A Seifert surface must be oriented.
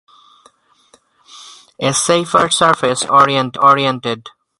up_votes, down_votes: 0, 2